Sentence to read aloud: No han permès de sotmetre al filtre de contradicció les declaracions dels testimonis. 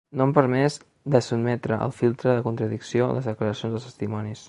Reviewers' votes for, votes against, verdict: 2, 0, accepted